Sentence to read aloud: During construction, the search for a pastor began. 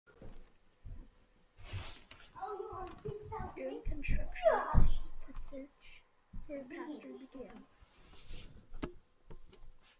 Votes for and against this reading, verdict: 0, 2, rejected